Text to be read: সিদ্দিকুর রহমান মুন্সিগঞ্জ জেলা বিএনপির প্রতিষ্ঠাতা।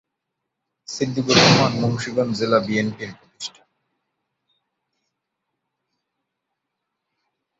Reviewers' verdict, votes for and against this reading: rejected, 1, 2